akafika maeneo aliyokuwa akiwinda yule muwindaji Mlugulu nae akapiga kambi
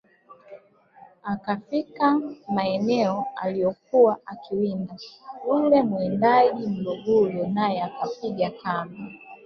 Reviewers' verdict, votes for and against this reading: accepted, 4, 2